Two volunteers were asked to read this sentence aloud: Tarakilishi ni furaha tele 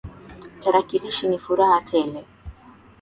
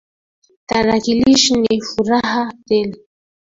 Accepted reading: first